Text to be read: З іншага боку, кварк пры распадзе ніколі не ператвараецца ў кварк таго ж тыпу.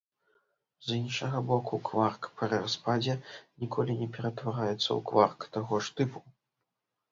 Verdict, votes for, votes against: rejected, 1, 2